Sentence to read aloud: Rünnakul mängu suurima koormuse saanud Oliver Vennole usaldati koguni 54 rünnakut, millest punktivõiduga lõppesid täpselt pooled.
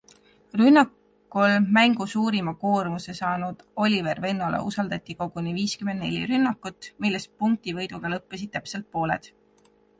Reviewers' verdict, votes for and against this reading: rejected, 0, 2